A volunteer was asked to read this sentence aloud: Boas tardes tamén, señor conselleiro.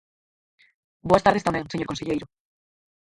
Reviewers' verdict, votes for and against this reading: rejected, 0, 4